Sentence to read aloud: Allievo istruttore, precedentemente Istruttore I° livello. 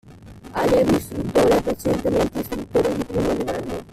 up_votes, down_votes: 2, 1